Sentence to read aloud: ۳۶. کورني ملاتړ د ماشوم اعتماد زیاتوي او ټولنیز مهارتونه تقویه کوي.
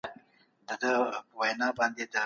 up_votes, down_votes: 0, 2